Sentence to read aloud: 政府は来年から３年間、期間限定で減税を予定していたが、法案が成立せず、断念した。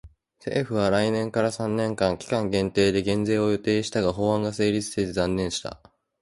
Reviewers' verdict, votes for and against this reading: rejected, 0, 2